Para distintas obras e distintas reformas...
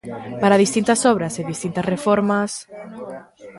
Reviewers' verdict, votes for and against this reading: accepted, 2, 0